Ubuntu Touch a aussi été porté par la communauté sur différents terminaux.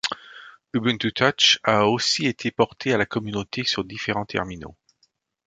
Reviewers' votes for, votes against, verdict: 0, 2, rejected